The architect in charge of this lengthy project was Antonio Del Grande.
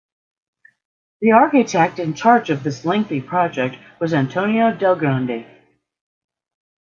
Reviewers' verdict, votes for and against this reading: accepted, 2, 0